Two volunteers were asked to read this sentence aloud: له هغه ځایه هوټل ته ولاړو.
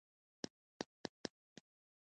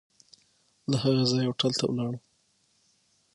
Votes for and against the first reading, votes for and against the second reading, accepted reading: 0, 2, 6, 0, second